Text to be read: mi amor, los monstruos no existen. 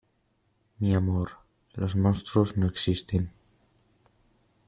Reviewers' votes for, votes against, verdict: 2, 0, accepted